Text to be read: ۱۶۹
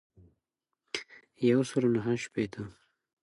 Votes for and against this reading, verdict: 0, 2, rejected